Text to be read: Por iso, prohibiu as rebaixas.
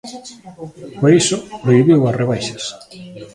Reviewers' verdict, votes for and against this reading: accepted, 2, 1